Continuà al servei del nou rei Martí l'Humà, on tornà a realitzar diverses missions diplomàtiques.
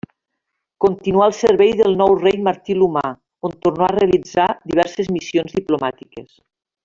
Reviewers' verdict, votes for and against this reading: accepted, 2, 1